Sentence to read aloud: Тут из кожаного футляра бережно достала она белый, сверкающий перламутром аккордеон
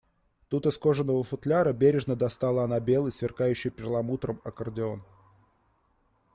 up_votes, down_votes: 2, 1